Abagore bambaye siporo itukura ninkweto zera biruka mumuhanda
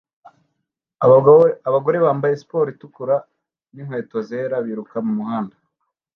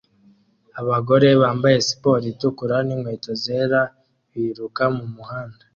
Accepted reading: second